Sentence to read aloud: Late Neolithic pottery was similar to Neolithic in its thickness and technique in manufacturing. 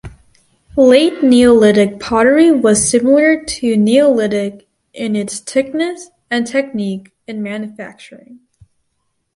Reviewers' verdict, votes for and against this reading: accepted, 4, 0